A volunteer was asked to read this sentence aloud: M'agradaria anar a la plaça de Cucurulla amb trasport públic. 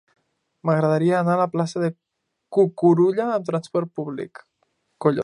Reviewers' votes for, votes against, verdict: 1, 2, rejected